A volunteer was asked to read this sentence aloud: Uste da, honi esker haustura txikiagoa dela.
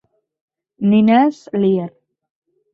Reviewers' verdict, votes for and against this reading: rejected, 0, 4